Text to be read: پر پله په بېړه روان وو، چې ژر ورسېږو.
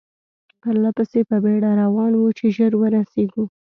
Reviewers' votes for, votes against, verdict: 2, 0, accepted